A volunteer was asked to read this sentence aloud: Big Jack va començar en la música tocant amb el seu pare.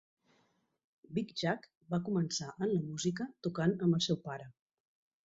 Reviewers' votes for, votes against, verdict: 3, 0, accepted